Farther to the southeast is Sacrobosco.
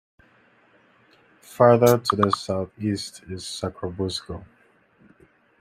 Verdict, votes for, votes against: accepted, 2, 0